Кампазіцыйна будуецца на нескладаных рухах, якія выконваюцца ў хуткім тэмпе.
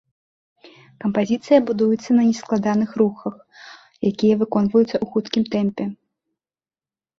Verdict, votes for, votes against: accepted, 2, 1